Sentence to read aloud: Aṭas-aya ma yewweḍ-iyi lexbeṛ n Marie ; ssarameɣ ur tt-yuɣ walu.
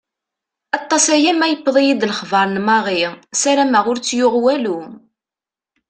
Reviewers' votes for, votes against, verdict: 2, 0, accepted